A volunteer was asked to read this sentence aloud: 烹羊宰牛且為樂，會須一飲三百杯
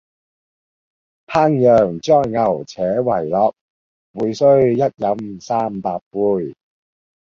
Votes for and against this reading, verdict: 1, 2, rejected